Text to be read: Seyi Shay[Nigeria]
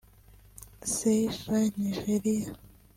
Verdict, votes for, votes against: rejected, 1, 2